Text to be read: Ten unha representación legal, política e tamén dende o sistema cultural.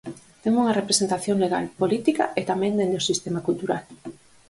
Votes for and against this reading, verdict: 4, 2, accepted